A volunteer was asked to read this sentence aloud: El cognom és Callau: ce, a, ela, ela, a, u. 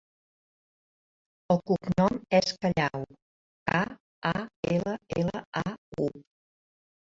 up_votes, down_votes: 0, 2